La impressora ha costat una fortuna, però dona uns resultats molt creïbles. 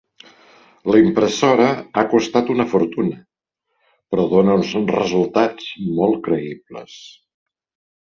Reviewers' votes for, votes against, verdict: 1, 2, rejected